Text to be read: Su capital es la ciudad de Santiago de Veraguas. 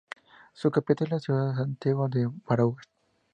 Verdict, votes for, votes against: rejected, 0, 2